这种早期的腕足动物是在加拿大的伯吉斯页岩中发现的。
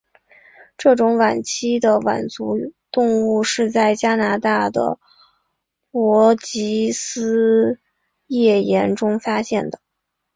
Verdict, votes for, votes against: rejected, 0, 2